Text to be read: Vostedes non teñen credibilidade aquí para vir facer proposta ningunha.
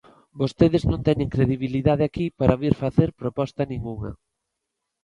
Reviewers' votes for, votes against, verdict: 2, 0, accepted